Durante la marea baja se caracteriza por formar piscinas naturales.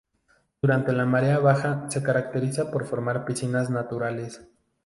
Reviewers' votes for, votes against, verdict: 0, 2, rejected